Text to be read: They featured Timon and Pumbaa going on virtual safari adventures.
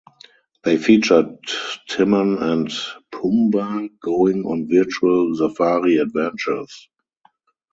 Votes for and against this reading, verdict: 2, 2, rejected